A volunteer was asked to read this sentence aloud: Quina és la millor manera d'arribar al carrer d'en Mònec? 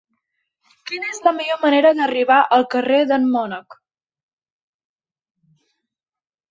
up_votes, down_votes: 0, 2